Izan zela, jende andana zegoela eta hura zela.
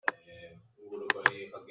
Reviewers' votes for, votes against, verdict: 0, 2, rejected